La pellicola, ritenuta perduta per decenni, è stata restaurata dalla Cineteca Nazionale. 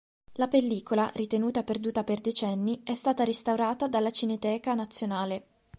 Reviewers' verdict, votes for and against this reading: accepted, 2, 0